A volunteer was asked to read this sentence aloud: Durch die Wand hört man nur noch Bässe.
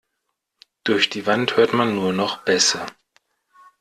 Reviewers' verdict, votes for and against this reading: accepted, 2, 0